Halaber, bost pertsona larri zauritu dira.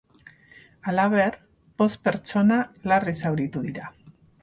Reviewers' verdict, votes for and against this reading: accepted, 4, 0